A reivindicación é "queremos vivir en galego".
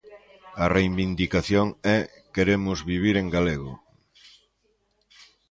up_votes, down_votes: 0, 2